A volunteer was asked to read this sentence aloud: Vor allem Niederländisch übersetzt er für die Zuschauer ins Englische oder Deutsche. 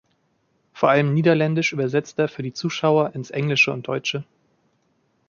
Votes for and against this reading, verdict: 1, 2, rejected